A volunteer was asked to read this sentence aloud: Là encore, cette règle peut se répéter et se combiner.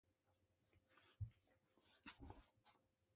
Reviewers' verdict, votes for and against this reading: rejected, 0, 2